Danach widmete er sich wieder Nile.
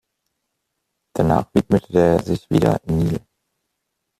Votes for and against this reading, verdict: 1, 2, rejected